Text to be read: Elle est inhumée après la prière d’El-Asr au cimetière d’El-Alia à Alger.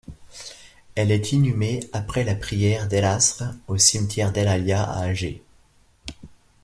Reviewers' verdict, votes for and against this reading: accepted, 2, 1